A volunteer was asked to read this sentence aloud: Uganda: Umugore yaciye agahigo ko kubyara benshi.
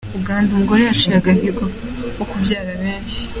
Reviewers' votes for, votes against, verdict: 2, 1, accepted